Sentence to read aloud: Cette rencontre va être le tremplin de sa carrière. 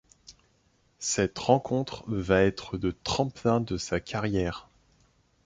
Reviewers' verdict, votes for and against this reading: rejected, 0, 2